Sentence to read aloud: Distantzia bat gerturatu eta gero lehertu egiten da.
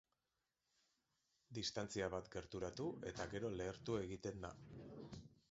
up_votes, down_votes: 2, 0